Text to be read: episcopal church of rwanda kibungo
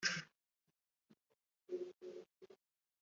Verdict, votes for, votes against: rejected, 0, 2